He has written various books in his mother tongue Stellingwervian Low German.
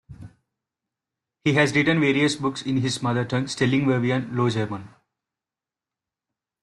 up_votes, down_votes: 4, 0